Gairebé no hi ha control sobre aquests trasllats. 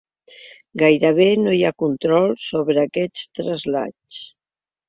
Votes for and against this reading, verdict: 1, 2, rejected